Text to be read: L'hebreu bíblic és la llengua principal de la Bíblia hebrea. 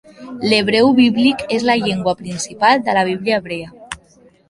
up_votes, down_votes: 1, 2